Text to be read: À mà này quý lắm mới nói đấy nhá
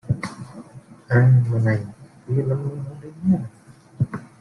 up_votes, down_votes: 0, 2